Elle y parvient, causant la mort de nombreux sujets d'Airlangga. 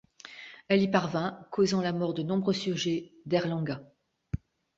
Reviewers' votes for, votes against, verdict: 2, 1, accepted